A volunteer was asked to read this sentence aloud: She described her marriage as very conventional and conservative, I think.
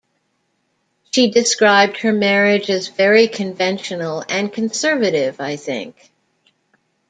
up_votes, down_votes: 2, 0